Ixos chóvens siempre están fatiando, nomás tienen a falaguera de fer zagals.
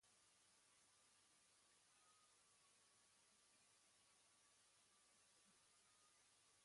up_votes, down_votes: 1, 2